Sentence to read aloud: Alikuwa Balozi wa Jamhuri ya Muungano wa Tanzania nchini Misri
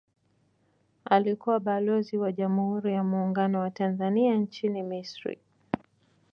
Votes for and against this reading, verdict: 2, 0, accepted